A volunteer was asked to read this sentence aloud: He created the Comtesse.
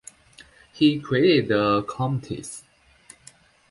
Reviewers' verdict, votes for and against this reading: accepted, 2, 0